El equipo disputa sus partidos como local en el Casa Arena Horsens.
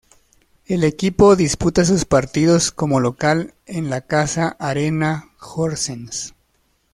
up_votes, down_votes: 2, 1